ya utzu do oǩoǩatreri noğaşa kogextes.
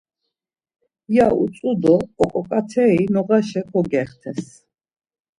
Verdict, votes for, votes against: accepted, 2, 0